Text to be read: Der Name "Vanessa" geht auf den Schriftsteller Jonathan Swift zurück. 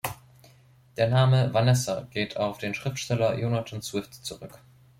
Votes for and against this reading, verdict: 2, 0, accepted